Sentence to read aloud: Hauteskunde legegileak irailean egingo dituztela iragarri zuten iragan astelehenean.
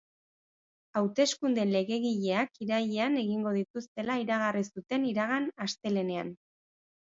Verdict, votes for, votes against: accepted, 2, 0